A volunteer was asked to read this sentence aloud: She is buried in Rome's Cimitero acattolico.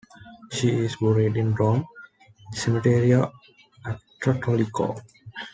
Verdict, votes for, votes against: rejected, 0, 2